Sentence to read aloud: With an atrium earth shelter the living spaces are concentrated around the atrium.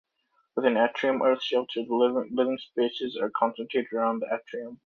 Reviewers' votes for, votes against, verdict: 0, 2, rejected